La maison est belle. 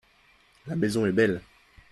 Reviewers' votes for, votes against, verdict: 2, 0, accepted